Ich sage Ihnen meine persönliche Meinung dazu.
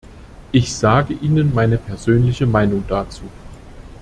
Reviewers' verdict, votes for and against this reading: accepted, 2, 0